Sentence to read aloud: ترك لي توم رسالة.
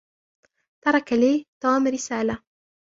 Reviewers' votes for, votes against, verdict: 0, 2, rejected